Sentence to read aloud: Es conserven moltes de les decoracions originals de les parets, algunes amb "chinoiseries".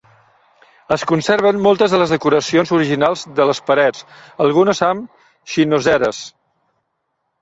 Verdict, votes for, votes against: rejected, 0, 2